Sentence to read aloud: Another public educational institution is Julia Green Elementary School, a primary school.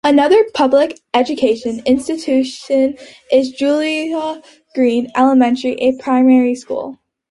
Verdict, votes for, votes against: accepted, 2, 1